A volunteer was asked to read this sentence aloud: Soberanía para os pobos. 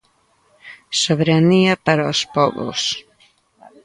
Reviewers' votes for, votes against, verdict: 1, 2, rejected